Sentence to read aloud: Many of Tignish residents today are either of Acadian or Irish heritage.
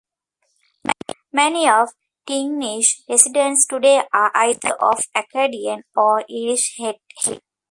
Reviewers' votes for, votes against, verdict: 1, 2, rejected